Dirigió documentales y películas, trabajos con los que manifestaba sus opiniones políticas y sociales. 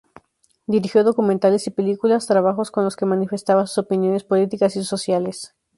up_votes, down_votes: 2, 0